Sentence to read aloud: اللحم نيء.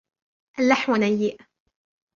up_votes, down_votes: 1, 2